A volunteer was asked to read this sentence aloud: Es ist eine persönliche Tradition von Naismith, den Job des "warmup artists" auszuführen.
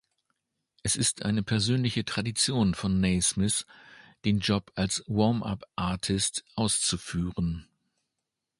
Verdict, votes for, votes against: rejected, 0, 2